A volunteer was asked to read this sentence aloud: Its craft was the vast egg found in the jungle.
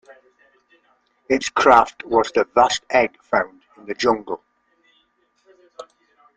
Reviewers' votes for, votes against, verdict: 2, 0, accepted